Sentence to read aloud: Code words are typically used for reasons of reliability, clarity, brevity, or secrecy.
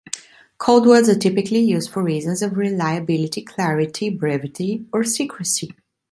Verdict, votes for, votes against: accepted, 2, 0